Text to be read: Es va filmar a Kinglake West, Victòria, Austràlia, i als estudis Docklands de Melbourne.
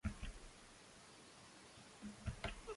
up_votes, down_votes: 0, 2